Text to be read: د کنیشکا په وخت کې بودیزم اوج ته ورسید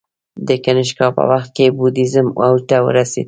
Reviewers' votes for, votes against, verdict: 1, 2, rejected